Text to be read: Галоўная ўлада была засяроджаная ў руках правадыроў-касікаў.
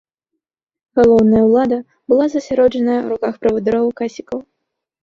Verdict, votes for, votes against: accepted, 2, 0